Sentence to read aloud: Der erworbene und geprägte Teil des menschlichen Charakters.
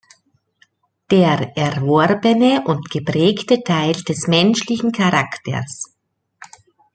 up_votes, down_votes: 2, 0